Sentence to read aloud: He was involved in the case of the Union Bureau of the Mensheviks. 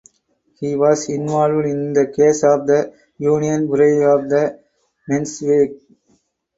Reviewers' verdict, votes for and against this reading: accepted, 4, 2